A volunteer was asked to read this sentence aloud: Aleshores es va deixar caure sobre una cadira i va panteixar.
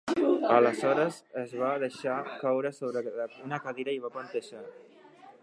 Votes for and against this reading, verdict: 2, 1, accepted